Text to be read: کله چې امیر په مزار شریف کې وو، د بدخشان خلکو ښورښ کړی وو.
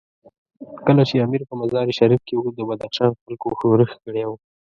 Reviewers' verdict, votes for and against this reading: rejected, 1, 2